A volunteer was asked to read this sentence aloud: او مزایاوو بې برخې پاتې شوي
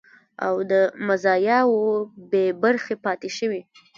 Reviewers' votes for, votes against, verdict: 1, 2, rejected